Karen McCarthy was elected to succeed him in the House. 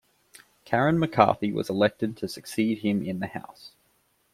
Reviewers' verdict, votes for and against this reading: accepted, 2, 0